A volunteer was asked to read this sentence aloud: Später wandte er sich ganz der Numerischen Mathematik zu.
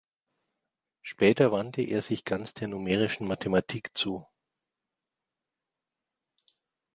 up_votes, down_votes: 2, 0